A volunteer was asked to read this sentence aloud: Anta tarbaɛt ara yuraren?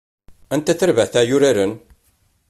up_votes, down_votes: 2, 0